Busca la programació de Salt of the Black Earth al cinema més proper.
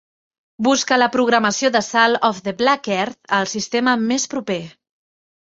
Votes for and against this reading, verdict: 1, 3, rejected